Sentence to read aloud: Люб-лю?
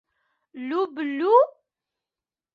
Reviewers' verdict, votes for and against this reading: accepted, 2, 1